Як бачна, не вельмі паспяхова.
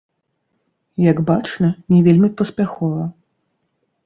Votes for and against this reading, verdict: 0, 3, rejected